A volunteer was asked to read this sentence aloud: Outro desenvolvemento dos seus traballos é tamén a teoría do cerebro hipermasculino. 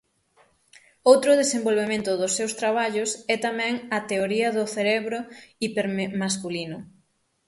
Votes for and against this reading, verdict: 0, 6, rejected